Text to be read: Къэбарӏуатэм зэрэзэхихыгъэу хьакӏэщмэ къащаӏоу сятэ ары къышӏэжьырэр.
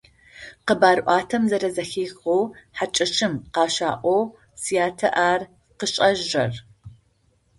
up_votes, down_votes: 0, 2